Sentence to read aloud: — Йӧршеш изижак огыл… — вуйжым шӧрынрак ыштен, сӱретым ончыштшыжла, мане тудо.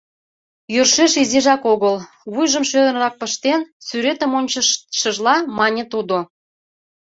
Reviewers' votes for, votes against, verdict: 2, 1, accepted